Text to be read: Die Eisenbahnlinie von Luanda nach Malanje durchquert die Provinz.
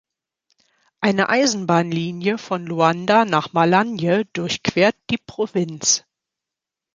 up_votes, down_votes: 0, 2